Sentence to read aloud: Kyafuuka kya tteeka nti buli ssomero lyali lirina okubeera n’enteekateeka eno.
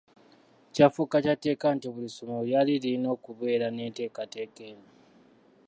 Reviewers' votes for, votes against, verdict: 2, 0, accepted